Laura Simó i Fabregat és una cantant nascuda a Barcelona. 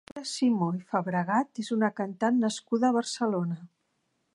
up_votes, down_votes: 0, 2